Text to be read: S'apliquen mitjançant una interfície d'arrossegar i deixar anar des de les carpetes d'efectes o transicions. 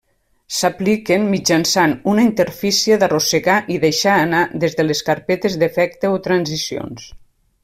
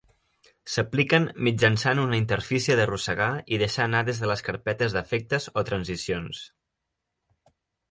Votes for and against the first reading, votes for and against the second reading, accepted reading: 0, 2, 3, 0, second